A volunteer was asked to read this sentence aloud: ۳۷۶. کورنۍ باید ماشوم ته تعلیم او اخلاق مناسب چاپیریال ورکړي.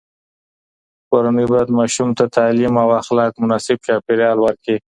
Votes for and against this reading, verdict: 0, 2, rejected